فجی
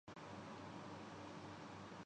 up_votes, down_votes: 0, 2